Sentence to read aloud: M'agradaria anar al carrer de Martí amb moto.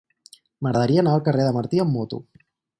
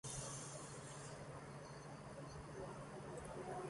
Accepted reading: first